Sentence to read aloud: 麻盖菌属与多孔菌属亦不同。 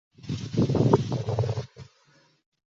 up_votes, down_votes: 0, 2